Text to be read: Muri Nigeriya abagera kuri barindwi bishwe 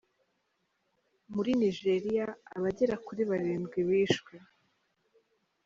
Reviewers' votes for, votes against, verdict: 2, 1, accepted